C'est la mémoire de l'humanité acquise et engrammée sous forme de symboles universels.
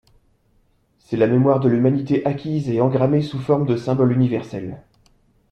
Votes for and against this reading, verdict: 2, 0, accepted